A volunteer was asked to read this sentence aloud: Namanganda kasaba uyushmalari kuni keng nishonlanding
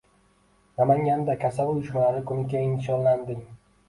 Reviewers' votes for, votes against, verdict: 1, 2, rejected